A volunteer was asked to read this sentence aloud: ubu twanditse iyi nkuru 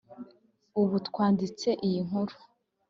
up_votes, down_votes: 2, 0